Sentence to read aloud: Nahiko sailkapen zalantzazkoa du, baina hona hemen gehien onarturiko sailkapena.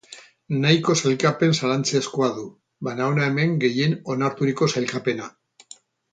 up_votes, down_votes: 0, 2